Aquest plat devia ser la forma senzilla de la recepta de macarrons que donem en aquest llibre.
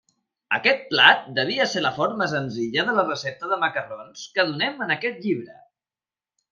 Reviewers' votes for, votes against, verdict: 2, 4, rejected